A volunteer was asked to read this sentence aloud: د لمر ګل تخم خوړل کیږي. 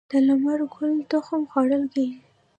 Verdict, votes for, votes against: accepted, 2, 1